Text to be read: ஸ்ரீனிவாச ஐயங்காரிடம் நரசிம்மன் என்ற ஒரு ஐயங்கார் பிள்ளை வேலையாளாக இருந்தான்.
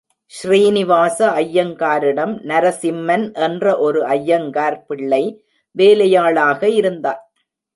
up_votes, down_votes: 2, 0